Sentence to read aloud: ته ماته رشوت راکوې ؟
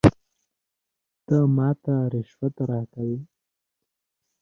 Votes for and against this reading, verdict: 2, 0, accepted